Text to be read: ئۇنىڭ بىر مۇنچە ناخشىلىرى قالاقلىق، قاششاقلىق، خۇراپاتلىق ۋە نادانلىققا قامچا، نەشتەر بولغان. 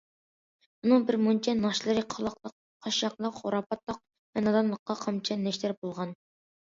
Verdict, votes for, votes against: accepted, 2, 1